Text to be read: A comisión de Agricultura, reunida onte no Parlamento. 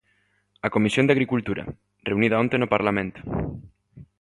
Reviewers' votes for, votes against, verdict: 2, 0, accepted